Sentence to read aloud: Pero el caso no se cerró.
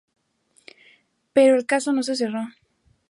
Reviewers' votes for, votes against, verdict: 2, 0, accepted